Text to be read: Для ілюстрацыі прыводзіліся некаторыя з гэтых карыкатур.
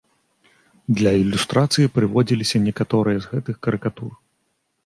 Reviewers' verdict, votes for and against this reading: accepted, 2, 0